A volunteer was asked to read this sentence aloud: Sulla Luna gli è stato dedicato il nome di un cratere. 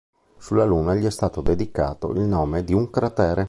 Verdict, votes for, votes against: accepted, 2, 0